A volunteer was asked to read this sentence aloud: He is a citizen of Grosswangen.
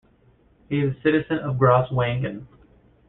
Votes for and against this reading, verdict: 2, 1, accepted